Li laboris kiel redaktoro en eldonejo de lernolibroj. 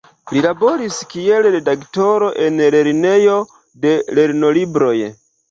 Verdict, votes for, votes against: accepted, 2, 0